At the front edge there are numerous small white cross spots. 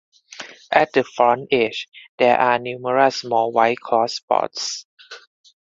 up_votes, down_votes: 2, 4